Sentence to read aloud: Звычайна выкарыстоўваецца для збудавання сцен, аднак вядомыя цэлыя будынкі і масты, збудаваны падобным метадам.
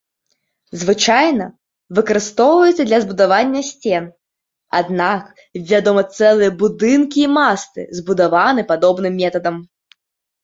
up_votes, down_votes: 0, 2